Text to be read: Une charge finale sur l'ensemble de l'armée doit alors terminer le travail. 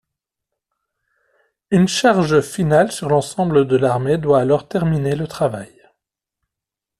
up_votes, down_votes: 2, 0